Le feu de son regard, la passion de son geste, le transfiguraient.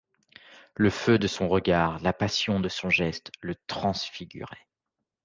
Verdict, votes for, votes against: accepted, 2, 0